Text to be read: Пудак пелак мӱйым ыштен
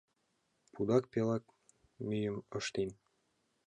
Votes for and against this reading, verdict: 2, 1, accepted